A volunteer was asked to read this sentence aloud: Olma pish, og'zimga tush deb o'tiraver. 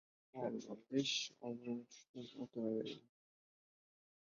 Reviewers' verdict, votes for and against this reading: rejected, 1, 2